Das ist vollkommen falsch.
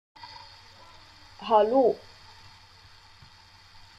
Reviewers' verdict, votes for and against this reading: rejected, 0, 2